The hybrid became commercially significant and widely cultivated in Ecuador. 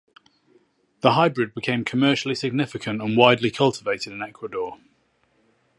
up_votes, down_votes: 4, 0